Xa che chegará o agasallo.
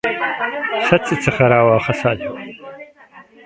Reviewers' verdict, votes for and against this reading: rejected, 1, 2